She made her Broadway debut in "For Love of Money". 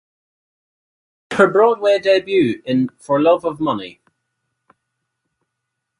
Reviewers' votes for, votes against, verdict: 2, 4, rejected